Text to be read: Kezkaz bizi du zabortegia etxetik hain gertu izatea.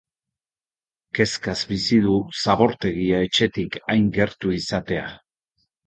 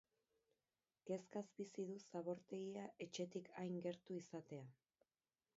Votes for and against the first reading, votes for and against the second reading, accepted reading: 2, 0, 0, 4, first